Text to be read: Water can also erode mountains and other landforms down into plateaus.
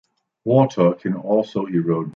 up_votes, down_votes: 0, 2